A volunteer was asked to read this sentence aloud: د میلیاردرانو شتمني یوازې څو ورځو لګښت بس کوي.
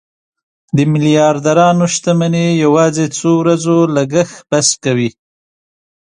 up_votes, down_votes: 2, 0